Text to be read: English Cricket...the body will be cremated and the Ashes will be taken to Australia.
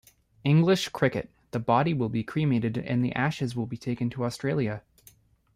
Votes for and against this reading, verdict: 1, 2, rejected